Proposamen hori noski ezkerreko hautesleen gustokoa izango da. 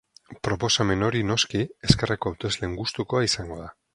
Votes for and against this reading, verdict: 2, 0, accepted